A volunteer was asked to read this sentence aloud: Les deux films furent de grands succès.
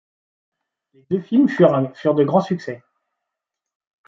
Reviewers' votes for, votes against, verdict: 1, 2, rejected